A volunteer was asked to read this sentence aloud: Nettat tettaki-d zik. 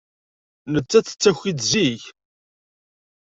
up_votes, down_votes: 2, 0